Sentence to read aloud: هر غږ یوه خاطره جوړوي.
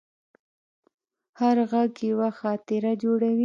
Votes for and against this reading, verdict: 1, 2, rejected